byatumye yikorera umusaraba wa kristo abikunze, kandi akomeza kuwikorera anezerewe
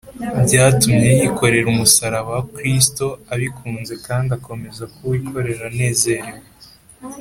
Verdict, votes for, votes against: accepted, 2, 0